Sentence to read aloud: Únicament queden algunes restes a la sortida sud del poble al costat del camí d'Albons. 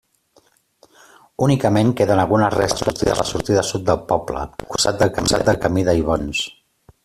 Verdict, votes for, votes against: rejected, 0, 2